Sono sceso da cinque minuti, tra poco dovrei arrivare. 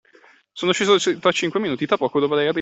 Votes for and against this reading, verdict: 0, 2, rejected